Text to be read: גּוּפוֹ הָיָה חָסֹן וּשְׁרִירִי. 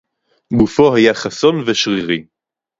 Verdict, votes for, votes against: rejected, 0, 2